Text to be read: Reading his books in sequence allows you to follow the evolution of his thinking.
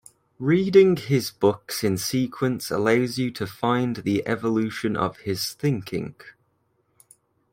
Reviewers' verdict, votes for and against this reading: rejected, 1, 3